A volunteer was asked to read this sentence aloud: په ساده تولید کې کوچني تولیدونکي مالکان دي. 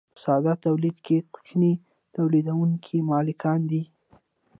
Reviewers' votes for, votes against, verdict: 0, 2, rejected